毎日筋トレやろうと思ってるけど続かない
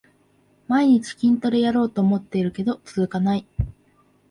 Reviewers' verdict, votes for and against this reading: accepted, 3, 0